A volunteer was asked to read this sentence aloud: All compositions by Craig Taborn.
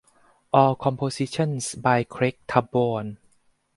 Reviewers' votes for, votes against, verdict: 4, 0, accepted